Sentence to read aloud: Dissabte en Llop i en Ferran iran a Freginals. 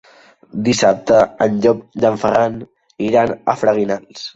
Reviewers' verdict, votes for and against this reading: accepted, 3, 0